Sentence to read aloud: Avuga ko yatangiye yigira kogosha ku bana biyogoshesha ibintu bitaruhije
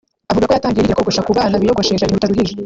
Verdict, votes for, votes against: rejected, 1, 2